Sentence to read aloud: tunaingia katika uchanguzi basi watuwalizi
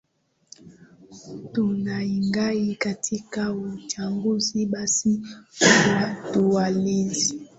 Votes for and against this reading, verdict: 3, 2, accepted